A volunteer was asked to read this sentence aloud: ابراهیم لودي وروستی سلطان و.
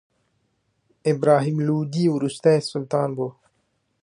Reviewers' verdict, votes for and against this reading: accepted, 2, 1